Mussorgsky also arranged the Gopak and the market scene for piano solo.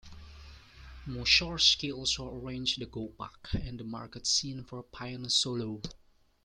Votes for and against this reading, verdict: 2, 1, accepted